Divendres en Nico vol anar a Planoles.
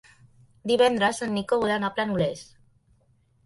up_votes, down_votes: 0, 2